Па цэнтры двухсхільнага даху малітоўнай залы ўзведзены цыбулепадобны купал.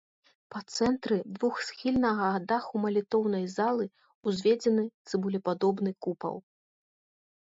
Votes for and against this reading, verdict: 2, 0, accepted